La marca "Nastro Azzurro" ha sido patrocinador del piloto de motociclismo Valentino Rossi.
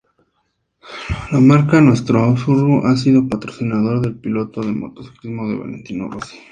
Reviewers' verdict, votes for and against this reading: accepted, 2, 0